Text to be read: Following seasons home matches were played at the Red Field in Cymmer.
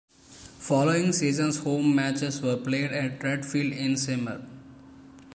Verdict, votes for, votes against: rejected, 0, 2